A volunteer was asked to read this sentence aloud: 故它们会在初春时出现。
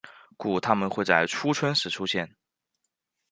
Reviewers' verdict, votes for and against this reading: rejected, 1, 2